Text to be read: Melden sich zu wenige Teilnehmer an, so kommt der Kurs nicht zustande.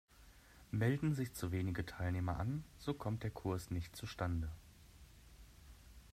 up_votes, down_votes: 2, 0